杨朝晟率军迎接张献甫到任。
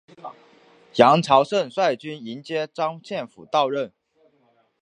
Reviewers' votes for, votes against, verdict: 5, 0, accepted